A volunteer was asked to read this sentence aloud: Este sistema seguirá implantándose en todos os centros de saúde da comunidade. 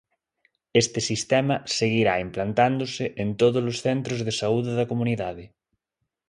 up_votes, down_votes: 2, 0